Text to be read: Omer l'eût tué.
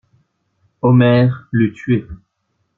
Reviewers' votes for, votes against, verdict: 2, 0, accepted